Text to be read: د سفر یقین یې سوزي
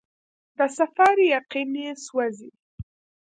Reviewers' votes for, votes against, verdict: 1, 2, rejected